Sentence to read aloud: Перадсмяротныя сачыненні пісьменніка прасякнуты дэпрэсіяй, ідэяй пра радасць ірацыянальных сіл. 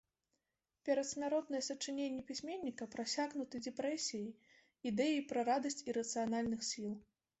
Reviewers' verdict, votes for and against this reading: rejected, 1, 2